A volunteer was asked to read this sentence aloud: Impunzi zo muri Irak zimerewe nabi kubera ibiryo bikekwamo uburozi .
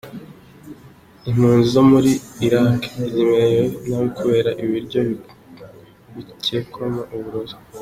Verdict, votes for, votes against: accepted, 2, 0